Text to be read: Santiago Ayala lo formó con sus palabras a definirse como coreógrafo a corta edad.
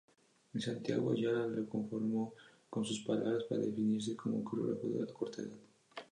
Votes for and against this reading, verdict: 0, 2, rejected